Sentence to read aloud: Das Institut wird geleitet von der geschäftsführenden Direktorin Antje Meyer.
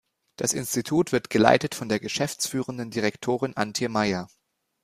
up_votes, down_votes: 2, 0